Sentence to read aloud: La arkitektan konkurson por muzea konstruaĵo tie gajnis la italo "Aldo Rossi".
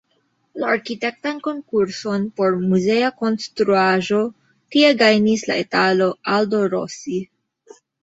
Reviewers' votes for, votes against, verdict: 1, 2, rejected